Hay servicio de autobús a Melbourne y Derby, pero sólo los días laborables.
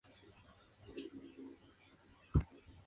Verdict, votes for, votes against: rejected, 0, 2